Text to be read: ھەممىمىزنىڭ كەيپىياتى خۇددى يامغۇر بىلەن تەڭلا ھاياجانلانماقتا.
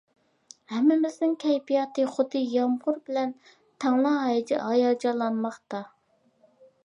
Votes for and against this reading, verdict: 0, 2, rejected